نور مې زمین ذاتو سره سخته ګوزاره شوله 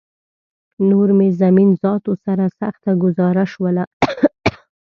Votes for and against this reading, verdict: 1, 2, rejected